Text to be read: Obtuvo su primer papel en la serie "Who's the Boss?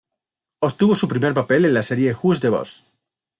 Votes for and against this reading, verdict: 2, 0, accepted